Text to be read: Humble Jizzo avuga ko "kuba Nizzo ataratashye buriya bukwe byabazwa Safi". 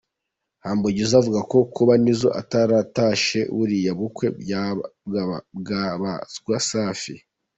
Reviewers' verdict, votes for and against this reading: rejected, 0, 2